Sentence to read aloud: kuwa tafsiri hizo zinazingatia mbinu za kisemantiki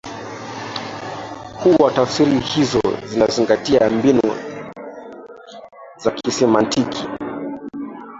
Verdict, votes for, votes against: rejected, 1, 2